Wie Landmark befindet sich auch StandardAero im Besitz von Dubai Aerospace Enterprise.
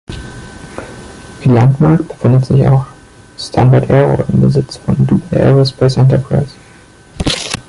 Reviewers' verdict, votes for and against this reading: rejected, 0, 2